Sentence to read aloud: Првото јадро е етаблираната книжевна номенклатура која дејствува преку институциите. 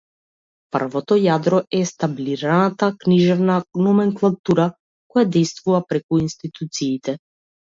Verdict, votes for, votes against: rejected, 0, 2